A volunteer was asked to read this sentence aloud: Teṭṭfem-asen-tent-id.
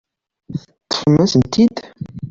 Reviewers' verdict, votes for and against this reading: accepted, 2, 0